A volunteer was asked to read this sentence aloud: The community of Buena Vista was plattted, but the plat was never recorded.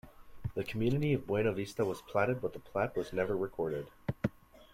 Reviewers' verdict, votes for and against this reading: rejected, 1, 2